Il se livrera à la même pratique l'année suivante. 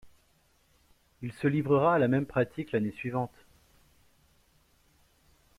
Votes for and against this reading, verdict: 2, 0, accepted